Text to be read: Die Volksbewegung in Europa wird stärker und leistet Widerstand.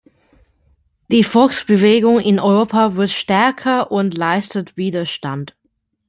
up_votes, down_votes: 2, 0